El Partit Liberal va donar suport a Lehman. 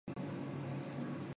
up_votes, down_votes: 0, 2